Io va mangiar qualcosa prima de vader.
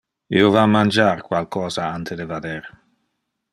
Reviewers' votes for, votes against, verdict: 1, 2, rejected